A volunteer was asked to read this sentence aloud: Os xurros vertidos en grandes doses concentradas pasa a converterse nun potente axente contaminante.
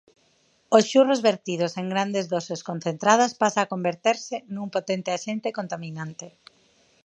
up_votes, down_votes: 2, 4